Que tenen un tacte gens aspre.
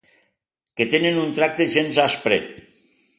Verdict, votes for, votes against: rejected, 0, 2